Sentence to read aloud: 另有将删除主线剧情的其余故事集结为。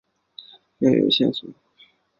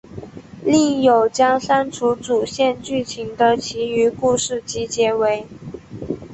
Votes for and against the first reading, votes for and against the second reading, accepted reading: 0, 3, 3, 0, second